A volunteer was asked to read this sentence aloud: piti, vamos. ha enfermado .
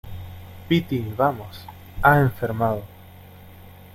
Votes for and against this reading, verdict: 2, 0, accepted